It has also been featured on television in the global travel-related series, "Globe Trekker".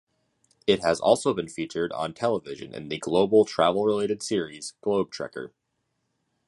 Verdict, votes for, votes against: accepted, 2, 0